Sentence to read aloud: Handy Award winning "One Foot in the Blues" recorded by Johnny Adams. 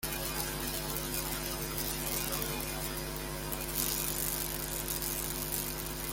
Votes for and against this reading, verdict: 0, 2, rejected